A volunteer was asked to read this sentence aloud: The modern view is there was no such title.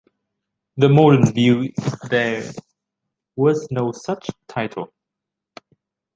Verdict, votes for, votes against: rejected, 1, 2